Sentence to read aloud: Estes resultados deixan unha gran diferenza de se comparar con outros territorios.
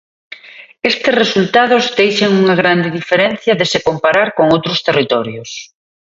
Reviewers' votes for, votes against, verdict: 1, 2, rejected